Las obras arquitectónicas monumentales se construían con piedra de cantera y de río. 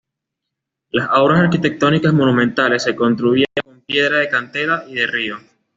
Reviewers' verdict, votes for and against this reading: accepted, 2, 0